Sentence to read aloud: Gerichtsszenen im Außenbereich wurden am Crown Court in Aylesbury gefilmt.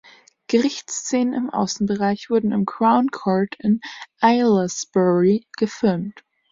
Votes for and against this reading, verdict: 1, 2, rejected